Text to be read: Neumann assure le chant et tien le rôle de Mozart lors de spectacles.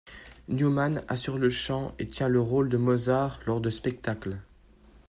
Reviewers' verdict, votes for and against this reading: accepted, 2, 0